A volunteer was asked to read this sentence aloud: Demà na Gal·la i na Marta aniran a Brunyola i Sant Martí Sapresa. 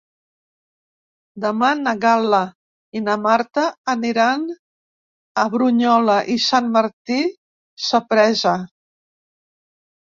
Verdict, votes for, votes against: rejected, 1, 2